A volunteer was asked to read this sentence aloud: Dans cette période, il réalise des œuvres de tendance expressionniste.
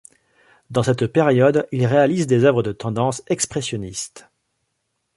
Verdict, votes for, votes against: accepted, 2, 0